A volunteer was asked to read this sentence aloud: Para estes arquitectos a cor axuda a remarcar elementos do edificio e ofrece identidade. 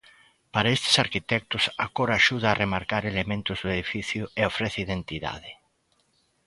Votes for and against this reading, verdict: 2, 0, accepted